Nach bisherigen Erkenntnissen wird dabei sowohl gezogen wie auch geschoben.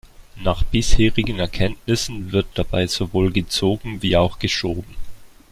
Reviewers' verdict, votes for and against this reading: accepted, 2, 0